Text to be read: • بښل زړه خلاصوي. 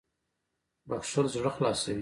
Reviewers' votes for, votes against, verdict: 1, 2, rejected